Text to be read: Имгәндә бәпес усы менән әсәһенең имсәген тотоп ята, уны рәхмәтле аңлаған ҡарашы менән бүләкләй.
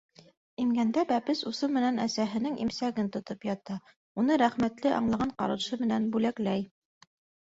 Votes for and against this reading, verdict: 2, 0, accepted